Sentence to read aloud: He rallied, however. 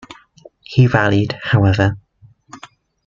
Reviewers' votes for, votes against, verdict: 2, 0, accepted